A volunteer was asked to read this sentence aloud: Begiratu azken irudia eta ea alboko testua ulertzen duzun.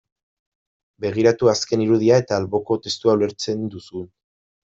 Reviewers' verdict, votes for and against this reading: rejected, 0, 2